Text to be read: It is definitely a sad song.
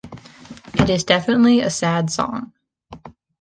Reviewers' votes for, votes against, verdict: 2, 0, accepted